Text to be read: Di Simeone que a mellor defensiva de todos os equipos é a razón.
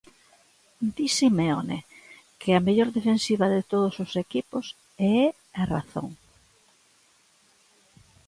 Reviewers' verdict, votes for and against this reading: accepted, 2, 0